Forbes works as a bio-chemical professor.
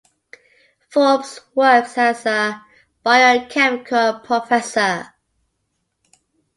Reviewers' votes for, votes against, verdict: 2, 0, accepted